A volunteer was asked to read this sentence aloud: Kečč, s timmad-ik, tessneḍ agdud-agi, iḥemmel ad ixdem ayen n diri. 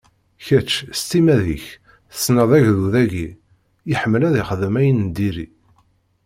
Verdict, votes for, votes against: accepted, 2, 0